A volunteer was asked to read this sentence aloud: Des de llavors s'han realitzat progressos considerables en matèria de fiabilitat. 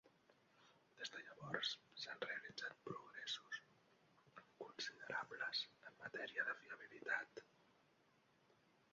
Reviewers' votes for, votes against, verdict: 1, 2, rejected